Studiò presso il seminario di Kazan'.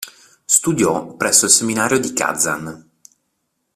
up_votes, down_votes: 2, 0